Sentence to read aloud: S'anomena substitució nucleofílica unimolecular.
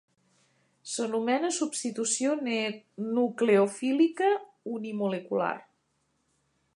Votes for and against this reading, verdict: 1, 2, rejected